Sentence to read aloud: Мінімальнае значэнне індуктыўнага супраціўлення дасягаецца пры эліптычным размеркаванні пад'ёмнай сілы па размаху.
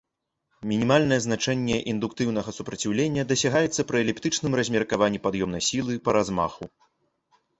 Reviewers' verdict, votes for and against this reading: accepted, 2, 0